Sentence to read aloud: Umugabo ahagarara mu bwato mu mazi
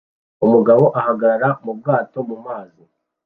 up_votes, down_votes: 2, 0